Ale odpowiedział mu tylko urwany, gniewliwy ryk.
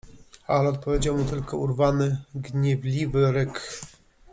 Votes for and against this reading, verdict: 2, 0, accepted